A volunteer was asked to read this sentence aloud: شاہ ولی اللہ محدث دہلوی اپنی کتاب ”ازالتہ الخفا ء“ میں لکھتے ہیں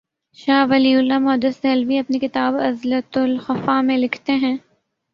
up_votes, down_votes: 3, 0